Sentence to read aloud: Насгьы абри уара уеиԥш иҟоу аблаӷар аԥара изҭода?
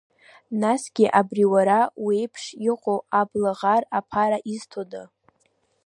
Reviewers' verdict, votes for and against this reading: rejected, 1, 2